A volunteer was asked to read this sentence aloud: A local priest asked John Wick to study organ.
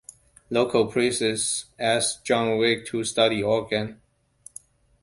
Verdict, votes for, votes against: rejected, 0, 2